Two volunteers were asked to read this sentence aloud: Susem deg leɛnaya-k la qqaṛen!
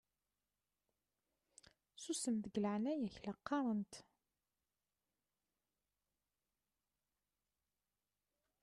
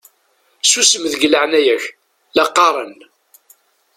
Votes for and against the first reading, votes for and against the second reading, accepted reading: 0, 2, 2, 0, second